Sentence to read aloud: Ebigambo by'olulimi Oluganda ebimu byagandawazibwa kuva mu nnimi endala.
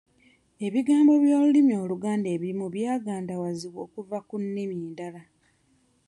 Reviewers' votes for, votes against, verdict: 1, 2, rejected